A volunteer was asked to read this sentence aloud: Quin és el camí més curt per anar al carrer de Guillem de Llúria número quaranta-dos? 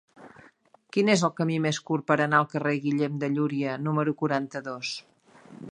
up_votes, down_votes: 2, 1